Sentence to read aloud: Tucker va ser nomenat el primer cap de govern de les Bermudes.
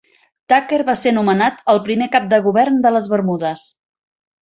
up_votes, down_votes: 2, 0